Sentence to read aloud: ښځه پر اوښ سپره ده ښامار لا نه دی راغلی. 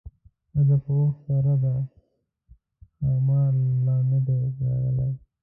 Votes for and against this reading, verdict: 0, 2, rejected